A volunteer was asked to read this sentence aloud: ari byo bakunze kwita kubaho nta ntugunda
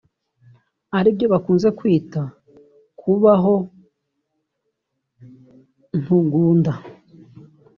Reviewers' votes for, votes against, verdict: 1, 2, rejected